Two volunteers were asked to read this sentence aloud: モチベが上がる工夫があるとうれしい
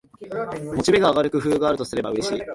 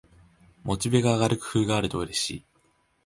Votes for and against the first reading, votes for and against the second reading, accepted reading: 1, 3, 2, 0, second